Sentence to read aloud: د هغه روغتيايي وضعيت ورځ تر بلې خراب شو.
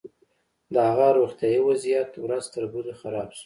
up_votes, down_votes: 2, 0